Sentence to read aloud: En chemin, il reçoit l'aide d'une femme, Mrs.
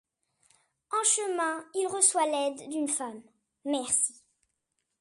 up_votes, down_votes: 1, 2